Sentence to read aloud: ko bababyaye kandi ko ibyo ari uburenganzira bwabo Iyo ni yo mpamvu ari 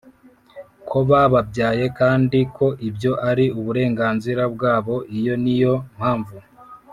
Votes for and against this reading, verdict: 1, 2, rejected